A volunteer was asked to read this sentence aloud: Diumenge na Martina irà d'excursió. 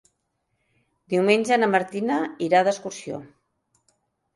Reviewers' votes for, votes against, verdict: 2, 0, accepted